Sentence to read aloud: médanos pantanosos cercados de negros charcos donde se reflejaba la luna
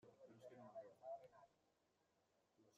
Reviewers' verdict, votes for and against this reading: rejected, 0, 2